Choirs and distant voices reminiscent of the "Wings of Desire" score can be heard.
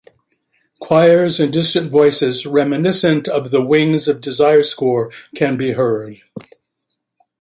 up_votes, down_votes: 2, 0